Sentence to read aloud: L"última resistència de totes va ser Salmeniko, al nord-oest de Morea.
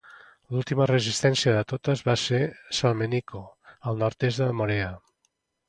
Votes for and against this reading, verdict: 0, 2, rejected